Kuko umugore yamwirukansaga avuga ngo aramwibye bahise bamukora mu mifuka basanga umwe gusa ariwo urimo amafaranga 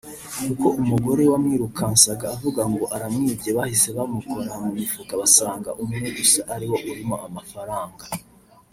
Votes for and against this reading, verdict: 2, 3, rejected